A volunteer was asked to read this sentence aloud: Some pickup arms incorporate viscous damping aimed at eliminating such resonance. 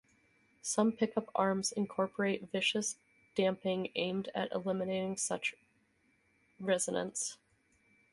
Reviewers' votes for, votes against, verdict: 4, 0, accepted